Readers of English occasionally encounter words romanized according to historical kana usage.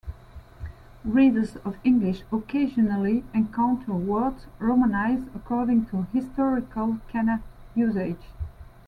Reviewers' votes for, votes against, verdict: 1, 2, rejected